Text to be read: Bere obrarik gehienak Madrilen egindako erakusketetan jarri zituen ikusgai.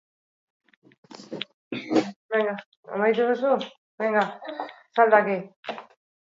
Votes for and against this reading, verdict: 0, 4, rejected